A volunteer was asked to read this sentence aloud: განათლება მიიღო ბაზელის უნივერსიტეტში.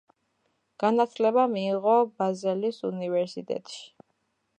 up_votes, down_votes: 2, 0